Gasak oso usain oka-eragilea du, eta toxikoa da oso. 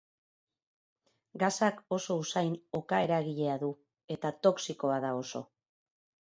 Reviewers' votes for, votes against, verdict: 2, 0, accepted